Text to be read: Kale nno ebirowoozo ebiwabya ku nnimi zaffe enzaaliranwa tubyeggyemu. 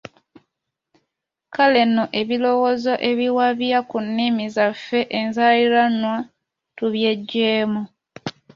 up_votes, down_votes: 2, 0